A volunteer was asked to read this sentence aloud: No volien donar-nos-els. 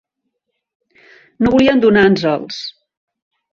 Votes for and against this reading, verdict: 0, 2, rejected